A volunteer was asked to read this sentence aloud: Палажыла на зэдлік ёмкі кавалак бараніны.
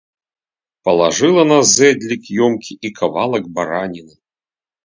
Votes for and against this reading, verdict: 1, 2, rejected